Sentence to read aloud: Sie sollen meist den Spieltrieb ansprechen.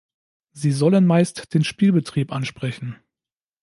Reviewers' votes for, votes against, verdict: 1, 2, rejected